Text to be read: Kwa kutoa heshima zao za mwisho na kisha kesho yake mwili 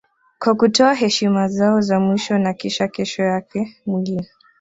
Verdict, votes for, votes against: accepted, 2, 0